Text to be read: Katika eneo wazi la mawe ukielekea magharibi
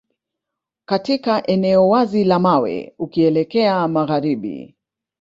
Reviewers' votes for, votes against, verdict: 1, 2, rejected